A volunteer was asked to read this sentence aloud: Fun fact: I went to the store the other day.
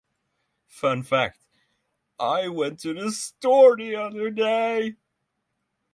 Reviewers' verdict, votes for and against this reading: accepted, 3, 0